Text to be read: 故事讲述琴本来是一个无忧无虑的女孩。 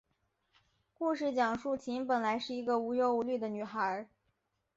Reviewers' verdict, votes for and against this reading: accepted, 2, 0